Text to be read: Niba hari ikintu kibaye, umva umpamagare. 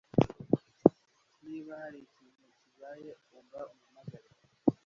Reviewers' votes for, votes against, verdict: 1, 2, rejected